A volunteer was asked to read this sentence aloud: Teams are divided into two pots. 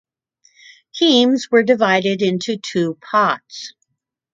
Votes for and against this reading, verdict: 1, 2, rejected